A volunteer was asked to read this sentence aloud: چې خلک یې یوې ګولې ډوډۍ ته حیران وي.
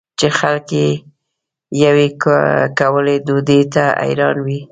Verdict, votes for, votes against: rejected, 0, 2